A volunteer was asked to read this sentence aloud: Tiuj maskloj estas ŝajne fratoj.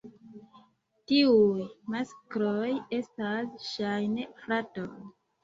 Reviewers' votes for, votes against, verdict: 2, 0, accepted